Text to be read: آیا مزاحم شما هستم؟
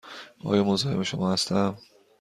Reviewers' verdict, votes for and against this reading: accepted, 2, 0